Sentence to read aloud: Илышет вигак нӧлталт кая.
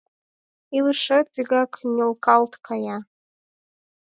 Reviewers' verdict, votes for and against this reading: rejected, 0, 4